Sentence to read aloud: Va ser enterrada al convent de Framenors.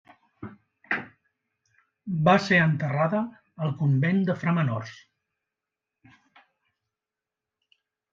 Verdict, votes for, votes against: rejected, 0, 2